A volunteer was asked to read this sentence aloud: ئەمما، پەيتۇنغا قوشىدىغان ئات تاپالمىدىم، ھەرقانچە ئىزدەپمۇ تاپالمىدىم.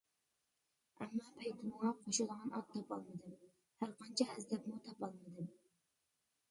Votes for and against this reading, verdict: 0, 2, rejected